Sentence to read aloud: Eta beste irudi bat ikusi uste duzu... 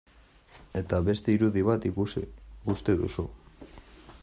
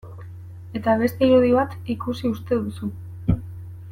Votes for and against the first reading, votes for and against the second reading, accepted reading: 1, 2, 2, 0, second